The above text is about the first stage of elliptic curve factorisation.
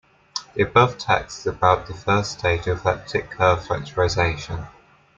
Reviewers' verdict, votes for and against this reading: accepted, 2, 0